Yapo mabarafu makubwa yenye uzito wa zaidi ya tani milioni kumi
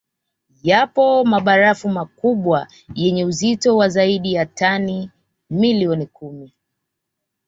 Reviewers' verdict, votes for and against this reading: accepted, 2, 0